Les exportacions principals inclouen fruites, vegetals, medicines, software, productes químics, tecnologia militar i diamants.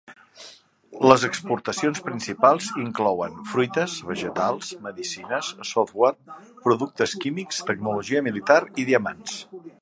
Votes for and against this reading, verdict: 3, 1, accepted